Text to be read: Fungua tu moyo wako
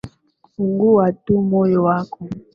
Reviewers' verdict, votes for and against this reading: accepted, 2, 0